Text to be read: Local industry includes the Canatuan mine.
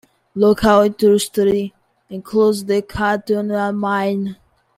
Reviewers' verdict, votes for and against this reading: rejected, 0, 2